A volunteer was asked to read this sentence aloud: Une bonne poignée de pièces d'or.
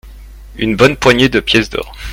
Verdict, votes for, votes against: accepted, 2, 0